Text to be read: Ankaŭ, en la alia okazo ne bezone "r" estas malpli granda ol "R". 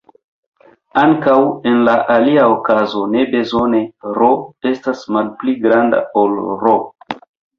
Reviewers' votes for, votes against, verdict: 2, 0, accepted